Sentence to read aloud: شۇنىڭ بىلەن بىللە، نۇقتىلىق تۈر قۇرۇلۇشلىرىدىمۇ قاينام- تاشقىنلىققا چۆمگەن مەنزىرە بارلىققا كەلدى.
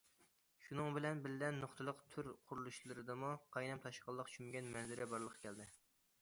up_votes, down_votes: 2, 0